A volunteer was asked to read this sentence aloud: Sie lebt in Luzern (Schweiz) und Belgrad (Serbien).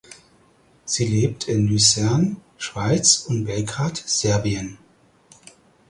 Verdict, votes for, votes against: accepted, 4, 0